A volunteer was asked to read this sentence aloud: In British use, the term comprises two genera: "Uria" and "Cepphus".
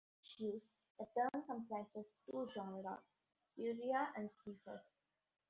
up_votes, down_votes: 1, 2